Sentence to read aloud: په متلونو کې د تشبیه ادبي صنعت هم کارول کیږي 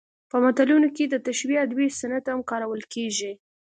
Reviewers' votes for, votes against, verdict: 2, 0, accepted